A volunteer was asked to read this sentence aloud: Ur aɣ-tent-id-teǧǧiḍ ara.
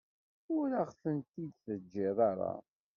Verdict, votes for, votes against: rejected, 1, 2